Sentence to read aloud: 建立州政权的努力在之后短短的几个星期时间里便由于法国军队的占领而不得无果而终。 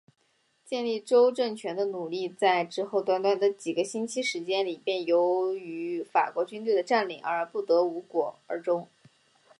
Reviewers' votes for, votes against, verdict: 2, 1, accepted